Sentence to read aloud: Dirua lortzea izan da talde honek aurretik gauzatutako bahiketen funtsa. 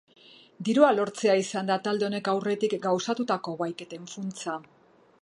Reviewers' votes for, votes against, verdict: 4, 0, accepted